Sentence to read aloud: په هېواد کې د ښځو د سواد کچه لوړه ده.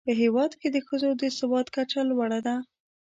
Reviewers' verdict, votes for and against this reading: accepted, 2, 0